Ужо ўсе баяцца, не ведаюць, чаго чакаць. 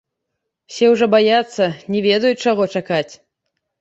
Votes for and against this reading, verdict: 0, 2, rejected